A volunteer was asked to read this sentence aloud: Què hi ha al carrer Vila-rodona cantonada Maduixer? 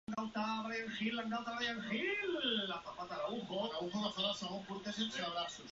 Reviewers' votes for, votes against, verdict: 0, 3, rejected